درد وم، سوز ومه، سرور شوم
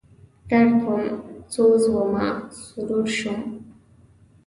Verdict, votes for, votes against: accepted, 2, 0